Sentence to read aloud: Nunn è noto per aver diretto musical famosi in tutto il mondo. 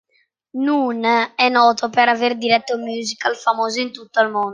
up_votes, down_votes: 1, 2